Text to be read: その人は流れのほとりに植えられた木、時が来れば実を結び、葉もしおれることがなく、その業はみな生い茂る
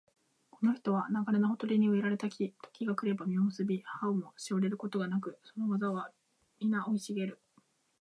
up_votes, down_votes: 0, 2